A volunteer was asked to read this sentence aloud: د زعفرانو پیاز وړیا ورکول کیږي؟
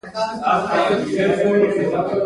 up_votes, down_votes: 1, 2